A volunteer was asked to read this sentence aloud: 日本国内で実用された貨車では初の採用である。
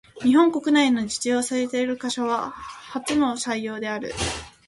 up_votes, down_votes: 1, 2